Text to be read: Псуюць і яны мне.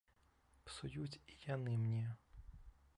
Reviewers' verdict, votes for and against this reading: rejected, 1, 2